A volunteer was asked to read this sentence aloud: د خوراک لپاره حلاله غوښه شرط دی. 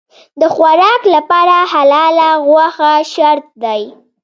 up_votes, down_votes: 1, 2